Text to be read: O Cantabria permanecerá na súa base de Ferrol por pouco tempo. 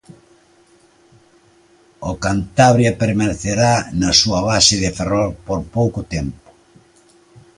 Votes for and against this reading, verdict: 2, 0, accepted